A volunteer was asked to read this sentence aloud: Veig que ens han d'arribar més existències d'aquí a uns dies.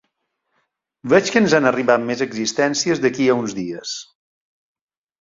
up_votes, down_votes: 0, 2